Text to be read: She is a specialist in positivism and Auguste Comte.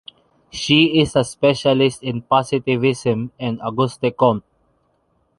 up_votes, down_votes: 1, 2